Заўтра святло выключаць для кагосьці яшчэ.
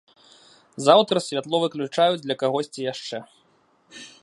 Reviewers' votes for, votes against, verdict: 0, 2, rejected